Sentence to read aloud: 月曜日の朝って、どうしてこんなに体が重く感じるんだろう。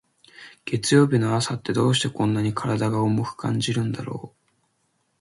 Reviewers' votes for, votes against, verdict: 2, 0, accepted